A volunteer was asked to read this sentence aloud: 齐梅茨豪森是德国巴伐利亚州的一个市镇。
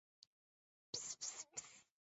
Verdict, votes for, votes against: rejected, 0, 3